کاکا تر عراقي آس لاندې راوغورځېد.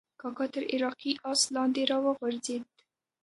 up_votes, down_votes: 1, 2